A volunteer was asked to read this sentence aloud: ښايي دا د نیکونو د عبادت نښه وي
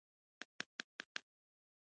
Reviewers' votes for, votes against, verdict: 1, 2, rejected